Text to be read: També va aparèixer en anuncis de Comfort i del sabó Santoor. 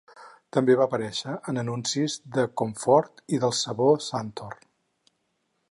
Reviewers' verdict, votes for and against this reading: accepted, 4, 0